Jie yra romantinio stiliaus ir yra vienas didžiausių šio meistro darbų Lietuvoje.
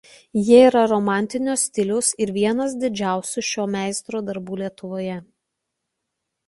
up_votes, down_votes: 1, 2